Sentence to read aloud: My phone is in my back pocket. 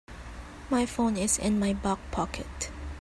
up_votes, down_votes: 2, 4